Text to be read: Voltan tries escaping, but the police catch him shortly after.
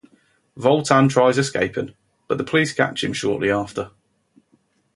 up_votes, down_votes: 2, 0